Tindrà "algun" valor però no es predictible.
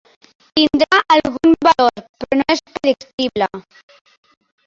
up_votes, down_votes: 0, 3